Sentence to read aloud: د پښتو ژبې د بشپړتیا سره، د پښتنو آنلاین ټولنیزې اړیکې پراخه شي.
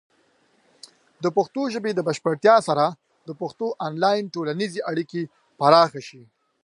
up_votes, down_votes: 2, 0